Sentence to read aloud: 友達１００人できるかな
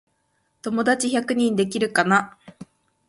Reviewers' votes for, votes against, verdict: 0, 2, rejected